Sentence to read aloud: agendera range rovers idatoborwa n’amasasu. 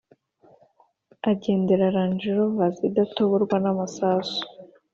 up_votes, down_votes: 2, 0